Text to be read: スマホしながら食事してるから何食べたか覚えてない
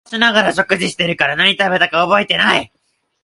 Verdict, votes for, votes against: rejected, 1, 2